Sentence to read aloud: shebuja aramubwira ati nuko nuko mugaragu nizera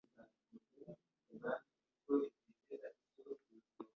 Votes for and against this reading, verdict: 1, 2, rejected